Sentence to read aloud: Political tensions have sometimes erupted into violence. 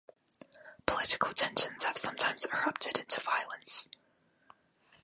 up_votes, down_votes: 2, 0